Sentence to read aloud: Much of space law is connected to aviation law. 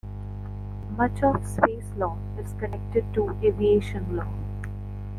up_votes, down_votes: 1, 2